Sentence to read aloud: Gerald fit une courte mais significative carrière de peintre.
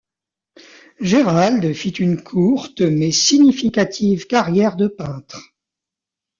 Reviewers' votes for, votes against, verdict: 2, 0, accepted